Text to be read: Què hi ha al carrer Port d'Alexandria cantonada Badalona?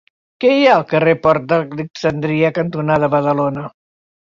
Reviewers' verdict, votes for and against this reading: rejected, 0, 6